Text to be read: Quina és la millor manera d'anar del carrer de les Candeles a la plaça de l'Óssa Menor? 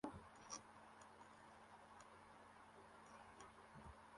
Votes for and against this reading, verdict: 0, 2, rejected